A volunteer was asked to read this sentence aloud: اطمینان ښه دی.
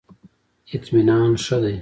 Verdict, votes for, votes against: accepted, 2, 0